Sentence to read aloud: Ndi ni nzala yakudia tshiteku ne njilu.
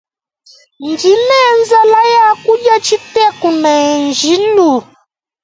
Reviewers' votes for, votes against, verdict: 2, 1, accepted